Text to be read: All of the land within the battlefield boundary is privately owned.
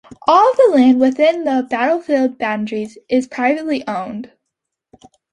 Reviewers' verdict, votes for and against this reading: accepted, 2, 0